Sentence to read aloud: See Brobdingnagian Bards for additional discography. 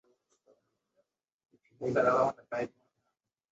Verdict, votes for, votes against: rejected, 0, 2